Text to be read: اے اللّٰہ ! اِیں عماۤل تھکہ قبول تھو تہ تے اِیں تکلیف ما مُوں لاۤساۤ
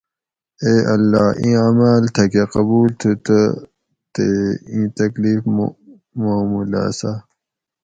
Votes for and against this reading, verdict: 2, 2, rejected